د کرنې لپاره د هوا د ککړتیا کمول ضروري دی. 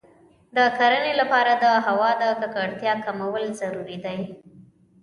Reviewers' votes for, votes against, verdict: 2, 0, accepted